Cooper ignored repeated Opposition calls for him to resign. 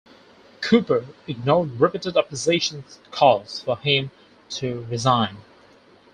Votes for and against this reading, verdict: 2, 4, rejected